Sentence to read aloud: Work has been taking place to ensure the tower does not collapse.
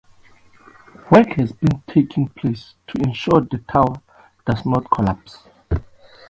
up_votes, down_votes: 2, 0